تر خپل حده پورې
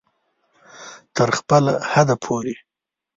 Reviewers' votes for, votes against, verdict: 2, 0, accepted